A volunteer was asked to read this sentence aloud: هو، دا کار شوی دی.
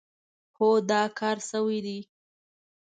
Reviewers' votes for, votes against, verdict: 2, 0, accepted